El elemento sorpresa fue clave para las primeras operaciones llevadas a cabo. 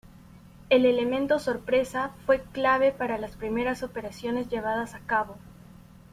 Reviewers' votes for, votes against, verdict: 2, 0, accepted